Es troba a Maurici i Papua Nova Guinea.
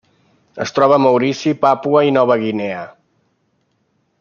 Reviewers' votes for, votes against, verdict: 0, 2, rejected